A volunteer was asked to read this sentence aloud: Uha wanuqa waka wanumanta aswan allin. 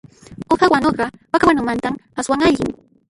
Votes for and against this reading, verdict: 0, 2, rejected